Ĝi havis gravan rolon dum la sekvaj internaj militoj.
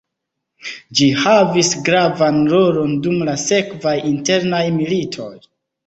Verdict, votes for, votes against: accepted, 2, 0